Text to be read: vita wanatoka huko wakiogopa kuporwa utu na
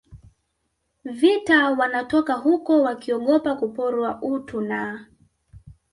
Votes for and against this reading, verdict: 1, 2, rejected